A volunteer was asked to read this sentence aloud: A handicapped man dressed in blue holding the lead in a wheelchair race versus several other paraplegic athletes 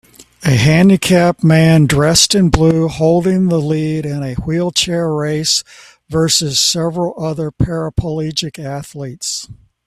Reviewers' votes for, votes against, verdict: 2, 1, accepted